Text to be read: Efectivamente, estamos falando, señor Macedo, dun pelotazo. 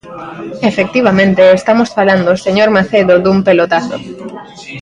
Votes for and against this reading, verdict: 2, 0, accepted